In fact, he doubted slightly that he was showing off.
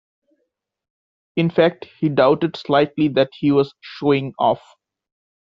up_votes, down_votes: 2, 0